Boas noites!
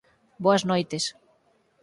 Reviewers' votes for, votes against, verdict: 4, 0, accepted